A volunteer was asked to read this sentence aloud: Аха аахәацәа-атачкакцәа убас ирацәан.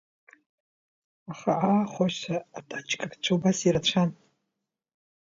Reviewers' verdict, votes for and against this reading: accepted, 2, 0